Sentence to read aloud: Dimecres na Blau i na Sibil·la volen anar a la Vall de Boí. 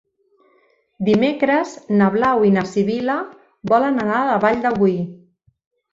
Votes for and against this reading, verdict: 3, 1, accepted